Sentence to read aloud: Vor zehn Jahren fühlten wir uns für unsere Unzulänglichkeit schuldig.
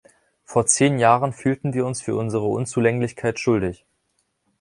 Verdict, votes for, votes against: accepted, 2, 0